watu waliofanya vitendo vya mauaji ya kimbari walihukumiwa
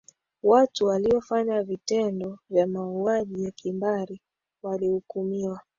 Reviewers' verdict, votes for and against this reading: accepted, 2, 1